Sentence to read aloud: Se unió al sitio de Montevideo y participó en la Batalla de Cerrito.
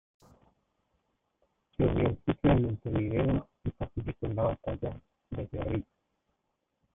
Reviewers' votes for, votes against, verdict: 0, 2, rejected